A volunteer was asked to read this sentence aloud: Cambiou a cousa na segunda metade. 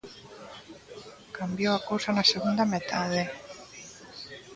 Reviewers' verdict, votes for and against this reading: accepted, 2, 0